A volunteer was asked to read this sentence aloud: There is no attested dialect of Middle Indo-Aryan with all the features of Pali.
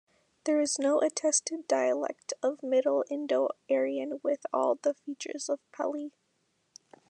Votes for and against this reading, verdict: 2, 0, accepted